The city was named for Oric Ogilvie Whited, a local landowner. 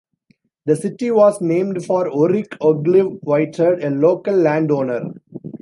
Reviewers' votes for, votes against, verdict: 2, 0, accepted